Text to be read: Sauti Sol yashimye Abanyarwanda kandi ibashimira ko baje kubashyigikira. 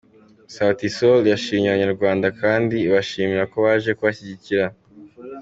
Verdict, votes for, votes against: accepted, 2, 0